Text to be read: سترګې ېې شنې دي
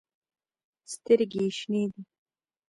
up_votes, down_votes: 0, 2